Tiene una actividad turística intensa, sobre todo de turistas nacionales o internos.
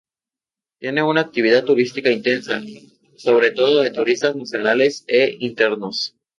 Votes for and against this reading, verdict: 0, 2, rejected